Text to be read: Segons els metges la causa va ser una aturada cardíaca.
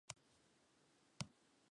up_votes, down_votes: 0, 4